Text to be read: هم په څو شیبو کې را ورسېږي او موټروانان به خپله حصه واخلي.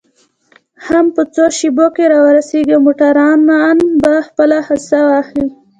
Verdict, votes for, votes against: accepted, 2, 0